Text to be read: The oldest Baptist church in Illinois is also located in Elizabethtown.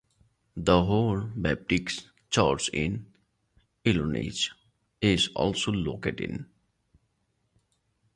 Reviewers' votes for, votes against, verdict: 0, 2, rejected